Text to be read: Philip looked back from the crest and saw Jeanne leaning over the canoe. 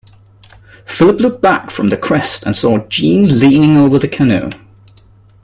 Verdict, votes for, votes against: accepted, 2, 0